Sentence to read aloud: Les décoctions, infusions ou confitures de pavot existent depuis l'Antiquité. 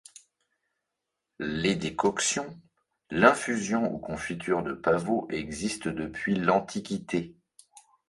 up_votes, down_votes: 1, 2